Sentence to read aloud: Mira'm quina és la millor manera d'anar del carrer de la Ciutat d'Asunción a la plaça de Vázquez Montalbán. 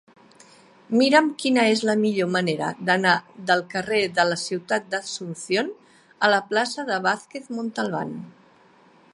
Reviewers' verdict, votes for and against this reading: accepted, 2, 1